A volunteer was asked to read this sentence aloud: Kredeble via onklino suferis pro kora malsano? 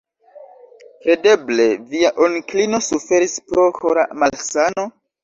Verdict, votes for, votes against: accepted, 2, 1